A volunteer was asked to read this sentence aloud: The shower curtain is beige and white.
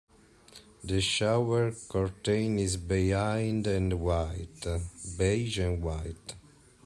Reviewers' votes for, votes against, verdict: 0, 2, rejected